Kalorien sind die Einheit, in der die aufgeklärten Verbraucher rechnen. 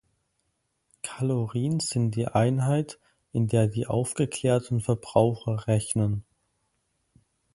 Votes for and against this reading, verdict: 4, 0, accepted